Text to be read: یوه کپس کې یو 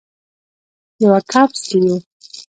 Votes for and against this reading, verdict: 1, 2, rejected